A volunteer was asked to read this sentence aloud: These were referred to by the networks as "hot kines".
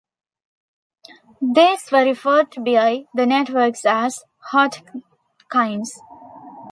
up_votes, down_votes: 0, 2